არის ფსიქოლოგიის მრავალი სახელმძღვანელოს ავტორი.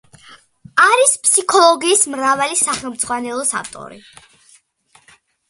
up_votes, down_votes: 2, 0